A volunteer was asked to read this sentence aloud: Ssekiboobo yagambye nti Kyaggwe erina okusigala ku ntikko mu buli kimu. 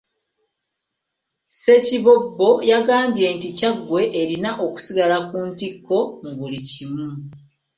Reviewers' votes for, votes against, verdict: 1, 2, rejected